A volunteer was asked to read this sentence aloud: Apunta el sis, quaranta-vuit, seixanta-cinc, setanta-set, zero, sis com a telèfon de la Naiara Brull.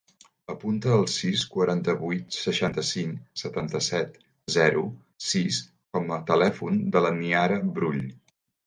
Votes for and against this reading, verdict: 0, 2, rejected